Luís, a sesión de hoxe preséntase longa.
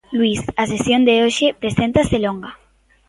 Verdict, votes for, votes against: accepted, 2, 0